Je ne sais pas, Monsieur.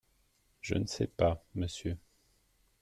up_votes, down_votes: 2, 0